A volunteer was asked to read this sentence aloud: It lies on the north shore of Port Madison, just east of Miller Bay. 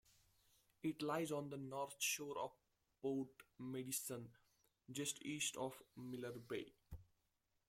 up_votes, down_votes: 1, 2